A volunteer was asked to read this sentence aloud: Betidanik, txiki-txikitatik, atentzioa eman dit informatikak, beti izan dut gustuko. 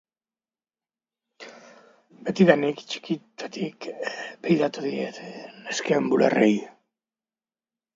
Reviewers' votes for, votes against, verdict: 0, 2, rejected